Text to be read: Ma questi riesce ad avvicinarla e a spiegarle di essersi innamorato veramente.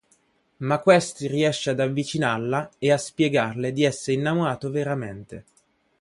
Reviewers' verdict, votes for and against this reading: rejected, 1, 2